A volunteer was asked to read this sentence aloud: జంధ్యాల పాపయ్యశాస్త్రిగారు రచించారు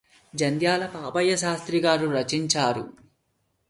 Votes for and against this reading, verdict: 2, 0, accepted